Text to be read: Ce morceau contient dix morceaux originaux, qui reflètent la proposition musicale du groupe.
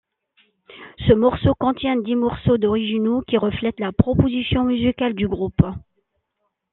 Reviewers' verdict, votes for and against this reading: accepted, 2, 1